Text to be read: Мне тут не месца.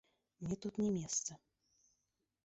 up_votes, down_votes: 1, 2